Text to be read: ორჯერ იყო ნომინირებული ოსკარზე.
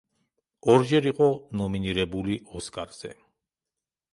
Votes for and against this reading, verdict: 3, 0, accepted